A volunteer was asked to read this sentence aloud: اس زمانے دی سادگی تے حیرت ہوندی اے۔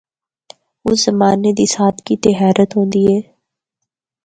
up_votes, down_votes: 4, 0